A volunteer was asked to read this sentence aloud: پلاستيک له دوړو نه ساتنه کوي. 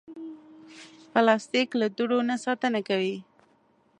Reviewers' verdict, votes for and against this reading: accepted, 2, 0